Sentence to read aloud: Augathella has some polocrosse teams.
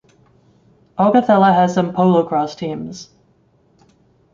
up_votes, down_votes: 2, 0